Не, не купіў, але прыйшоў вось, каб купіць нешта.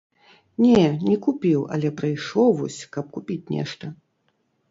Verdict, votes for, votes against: accepted, 2, 0